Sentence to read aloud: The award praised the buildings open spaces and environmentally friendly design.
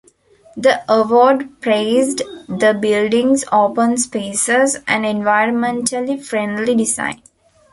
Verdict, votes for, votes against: accepted, 2, 0